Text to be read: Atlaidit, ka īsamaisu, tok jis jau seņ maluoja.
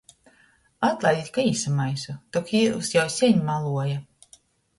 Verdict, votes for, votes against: rejected, 0, 2